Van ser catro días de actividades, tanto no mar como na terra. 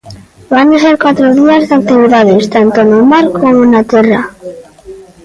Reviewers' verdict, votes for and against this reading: rejected, 0, 2